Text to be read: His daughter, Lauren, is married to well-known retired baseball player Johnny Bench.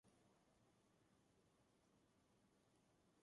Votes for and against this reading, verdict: 0, 2, rejected